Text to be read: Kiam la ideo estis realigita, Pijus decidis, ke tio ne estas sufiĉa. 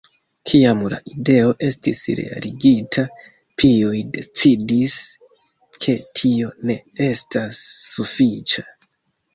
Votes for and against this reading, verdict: 0, 2, rejected